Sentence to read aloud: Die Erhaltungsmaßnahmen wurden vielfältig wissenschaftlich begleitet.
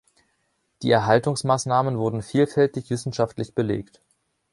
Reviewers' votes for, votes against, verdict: 0, 2, rejected